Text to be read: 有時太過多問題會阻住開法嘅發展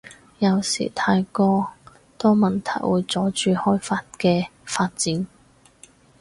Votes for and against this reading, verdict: 4, 0, accepted